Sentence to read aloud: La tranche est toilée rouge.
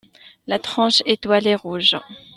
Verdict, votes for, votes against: accepted, 2, 0